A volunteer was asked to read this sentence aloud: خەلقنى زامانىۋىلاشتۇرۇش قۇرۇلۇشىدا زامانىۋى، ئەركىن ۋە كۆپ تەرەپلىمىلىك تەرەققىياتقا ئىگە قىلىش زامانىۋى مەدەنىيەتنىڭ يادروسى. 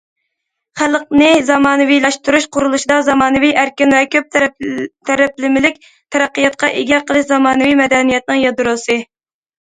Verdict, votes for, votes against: rejected, 1, 2